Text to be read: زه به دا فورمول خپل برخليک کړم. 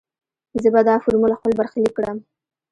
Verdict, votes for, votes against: accepted, 2, 1